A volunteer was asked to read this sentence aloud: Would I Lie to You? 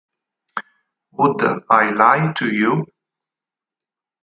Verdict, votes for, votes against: rejected, 2, 4